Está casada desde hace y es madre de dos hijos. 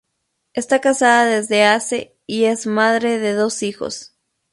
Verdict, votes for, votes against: rejected, 2, 2